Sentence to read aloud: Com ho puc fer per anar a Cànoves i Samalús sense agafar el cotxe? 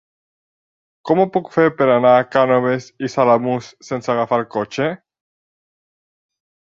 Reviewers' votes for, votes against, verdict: 1, 2, rejected